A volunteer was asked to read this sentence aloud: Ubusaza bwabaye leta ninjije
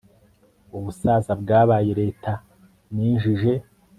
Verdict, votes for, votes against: accepted, 4, 0